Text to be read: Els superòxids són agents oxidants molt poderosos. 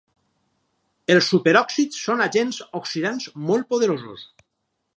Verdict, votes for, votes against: accepted, 4, 0